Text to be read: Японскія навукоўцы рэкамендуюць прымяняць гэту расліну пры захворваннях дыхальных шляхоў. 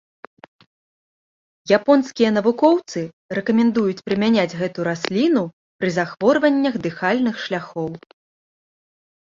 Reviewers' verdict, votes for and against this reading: accepted, 2, 0